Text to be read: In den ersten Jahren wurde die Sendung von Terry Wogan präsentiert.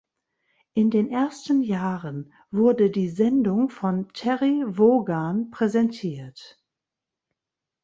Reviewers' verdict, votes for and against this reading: accepted, 2, 0